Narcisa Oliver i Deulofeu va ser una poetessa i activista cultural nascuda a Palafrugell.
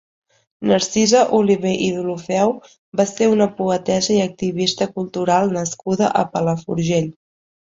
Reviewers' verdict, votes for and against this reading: rejected, 1, 2